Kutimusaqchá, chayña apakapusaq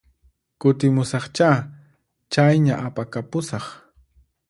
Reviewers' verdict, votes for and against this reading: accepted, 4, 0